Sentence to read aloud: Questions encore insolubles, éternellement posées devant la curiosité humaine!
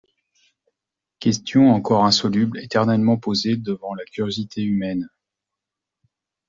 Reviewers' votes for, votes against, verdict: 2, 0, accepted